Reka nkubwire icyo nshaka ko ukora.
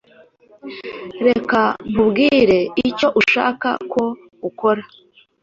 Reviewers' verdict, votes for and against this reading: accepted, 2, 1